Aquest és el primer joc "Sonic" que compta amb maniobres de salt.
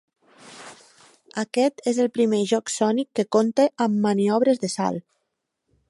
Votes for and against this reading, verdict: 2, 0, accepted